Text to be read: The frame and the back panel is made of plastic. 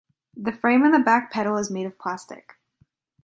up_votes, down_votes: 2, 0